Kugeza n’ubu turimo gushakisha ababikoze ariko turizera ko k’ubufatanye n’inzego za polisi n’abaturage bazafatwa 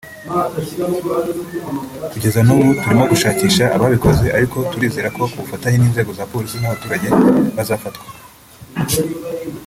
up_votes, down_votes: 1, 2